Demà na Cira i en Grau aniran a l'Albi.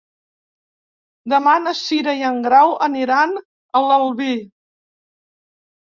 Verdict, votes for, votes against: accepted, 2, 0